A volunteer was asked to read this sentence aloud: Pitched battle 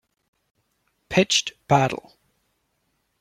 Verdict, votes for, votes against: accepted, 2, 0